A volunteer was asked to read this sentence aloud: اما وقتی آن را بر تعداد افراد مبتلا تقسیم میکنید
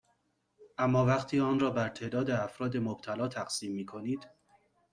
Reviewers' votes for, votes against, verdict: 2, 0, accepted